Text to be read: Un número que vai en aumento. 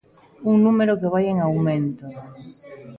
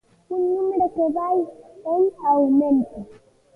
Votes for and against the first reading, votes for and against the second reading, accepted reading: 2, 0, 1, 2, first